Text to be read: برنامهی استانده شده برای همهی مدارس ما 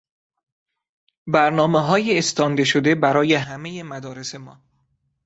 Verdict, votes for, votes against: rejected, 0, 2